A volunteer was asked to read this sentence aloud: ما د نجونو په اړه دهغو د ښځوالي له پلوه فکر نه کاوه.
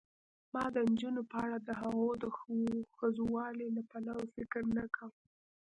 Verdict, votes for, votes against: rejected, 1, 2